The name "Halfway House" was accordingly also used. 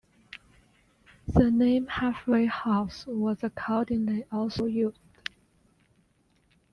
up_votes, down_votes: 2, 1